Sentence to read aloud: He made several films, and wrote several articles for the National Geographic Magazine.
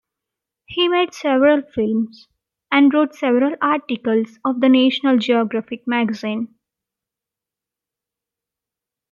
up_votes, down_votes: 2, 0